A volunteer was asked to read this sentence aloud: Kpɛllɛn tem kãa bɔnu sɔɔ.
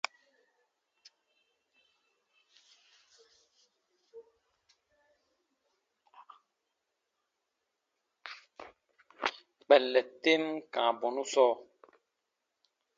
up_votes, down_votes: 2, 0